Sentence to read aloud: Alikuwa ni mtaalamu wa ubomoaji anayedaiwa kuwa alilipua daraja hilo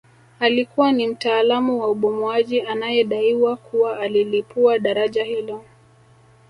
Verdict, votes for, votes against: accepted, 2, 0